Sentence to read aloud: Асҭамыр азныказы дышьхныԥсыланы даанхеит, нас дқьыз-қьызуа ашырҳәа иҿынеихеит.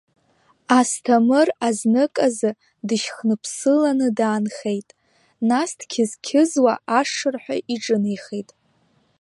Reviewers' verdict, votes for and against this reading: rejected, 1, 2